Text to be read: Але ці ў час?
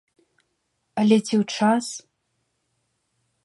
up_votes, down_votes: 2, 0